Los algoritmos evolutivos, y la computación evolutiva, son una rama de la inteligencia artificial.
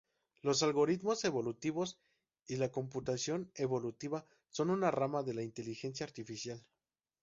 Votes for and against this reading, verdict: 0, 2, rejected